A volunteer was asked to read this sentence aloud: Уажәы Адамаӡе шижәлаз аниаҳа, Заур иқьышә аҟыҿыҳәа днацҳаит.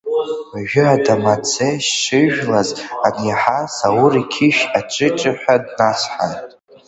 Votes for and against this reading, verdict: 1, 2, rejected